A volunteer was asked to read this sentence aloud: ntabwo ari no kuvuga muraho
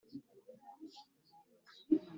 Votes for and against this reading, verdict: 0, 2, rejected